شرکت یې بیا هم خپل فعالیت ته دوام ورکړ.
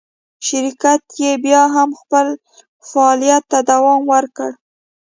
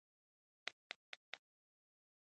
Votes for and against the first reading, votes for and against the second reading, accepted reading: 2, 0, 1, 2, first